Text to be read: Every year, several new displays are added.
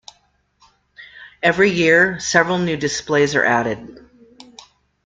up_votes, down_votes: 2, 0